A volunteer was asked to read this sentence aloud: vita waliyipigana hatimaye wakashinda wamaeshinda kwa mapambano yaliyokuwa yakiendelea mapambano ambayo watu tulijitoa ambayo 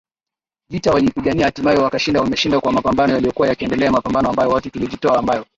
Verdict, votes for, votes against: rejected, 9, 13